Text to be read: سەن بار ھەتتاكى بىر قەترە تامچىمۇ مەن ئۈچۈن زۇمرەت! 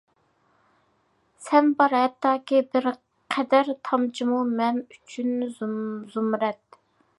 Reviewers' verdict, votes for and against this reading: rejected, 1, 2